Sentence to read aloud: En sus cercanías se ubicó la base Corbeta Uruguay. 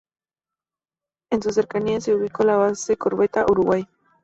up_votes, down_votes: 4, 0